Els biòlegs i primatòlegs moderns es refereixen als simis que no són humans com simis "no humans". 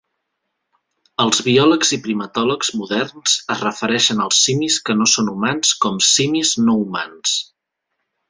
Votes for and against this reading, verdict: 2, 0, accepted